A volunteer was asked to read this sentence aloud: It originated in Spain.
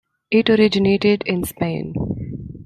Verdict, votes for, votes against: accepted, 2, 1